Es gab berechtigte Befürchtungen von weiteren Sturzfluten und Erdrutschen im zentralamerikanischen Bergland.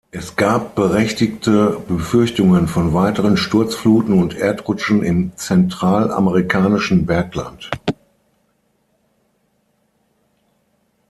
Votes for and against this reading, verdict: 6, 0, accepted